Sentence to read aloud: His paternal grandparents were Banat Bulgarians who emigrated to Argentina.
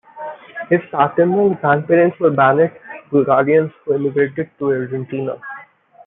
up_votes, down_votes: 1, 2